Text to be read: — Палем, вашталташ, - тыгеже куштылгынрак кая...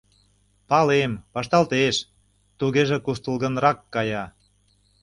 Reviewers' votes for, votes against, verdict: 0, 2, rejected